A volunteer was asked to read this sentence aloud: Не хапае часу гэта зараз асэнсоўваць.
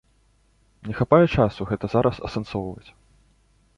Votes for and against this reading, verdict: 2, 0, accepted